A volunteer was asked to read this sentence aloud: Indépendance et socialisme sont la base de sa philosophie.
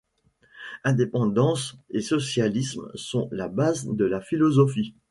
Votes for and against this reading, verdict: 0, 2, rejected